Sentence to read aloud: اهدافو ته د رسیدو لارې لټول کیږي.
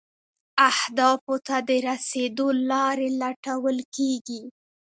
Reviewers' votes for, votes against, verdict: 1, 2, rejected